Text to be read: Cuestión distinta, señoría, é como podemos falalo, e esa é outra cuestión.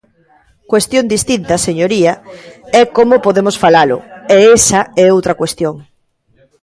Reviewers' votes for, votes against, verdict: 2, 0, accepted